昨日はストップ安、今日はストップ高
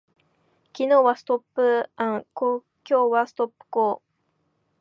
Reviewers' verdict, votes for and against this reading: rejected, 0, 2